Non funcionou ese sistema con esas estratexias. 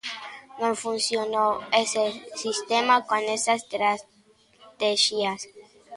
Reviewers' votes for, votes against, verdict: 0, 2, rejected